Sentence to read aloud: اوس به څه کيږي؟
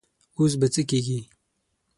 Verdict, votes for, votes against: accepted, 6, 0